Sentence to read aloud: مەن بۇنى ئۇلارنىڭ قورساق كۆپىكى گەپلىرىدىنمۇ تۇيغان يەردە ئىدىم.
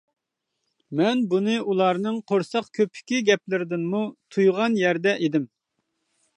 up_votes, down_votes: 3, 0